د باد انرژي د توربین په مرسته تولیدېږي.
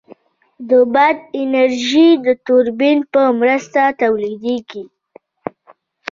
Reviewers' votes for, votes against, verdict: 2, 1, accepted